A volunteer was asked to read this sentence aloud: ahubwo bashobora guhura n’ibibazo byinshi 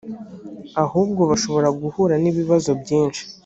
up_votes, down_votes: 2, 0